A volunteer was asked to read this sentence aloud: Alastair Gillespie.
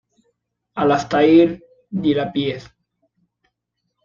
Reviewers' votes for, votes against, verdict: 2, 1, accepted